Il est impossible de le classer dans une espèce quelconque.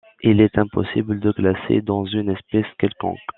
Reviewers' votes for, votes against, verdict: 1, 2, rejected